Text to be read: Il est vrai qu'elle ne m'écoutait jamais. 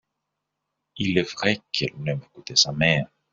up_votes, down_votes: 0, 2